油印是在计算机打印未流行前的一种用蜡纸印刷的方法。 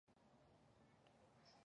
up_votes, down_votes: 1, 3